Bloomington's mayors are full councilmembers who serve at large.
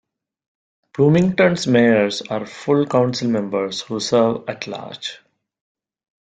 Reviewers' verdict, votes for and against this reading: accepted, 3, 0